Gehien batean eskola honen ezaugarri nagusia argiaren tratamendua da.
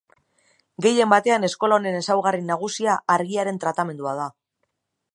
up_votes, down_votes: 2, 0